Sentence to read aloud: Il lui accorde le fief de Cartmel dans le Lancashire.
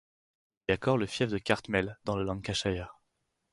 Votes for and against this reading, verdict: 2, 4, rejected